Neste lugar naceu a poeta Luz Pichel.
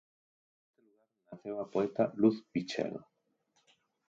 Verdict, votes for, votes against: rejected, 0, 4